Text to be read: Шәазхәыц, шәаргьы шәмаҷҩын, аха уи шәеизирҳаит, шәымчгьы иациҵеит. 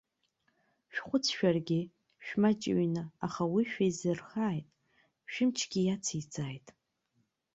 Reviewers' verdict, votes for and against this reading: rejected, 0, 2